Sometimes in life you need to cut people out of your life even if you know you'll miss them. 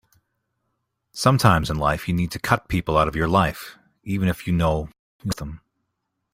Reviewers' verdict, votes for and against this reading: rejected, 0, 2